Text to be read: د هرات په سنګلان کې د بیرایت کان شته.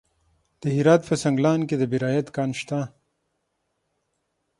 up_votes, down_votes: 6, 0